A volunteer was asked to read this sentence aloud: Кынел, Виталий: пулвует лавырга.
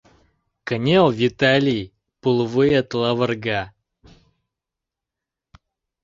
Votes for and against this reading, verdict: 2, 0, accepted